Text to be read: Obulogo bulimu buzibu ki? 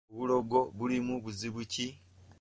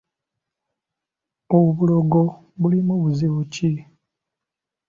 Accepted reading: second